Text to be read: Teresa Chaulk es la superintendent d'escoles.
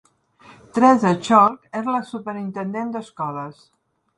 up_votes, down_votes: 2, 0